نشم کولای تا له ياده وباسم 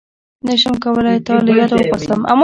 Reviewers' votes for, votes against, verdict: 0, 2, rejected